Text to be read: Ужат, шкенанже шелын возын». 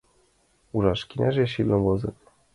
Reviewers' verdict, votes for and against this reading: rejected, 0, 2